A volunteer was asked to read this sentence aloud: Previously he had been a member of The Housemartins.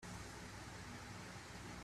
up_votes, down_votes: 0, 2